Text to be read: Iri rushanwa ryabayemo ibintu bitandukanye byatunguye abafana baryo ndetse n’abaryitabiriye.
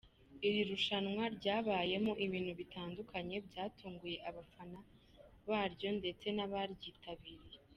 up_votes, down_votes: 2, 0